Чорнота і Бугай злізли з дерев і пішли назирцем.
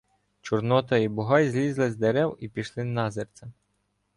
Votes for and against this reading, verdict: 2, 0, accepted